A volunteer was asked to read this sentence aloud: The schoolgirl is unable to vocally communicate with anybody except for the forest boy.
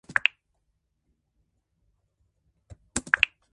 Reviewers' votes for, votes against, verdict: 0, 2, rejected